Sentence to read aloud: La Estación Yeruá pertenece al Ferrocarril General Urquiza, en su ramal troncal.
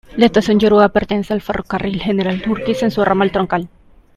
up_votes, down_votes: 1, 2